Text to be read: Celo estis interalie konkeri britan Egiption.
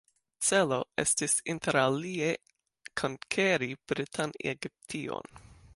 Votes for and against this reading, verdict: 2, 0, accepted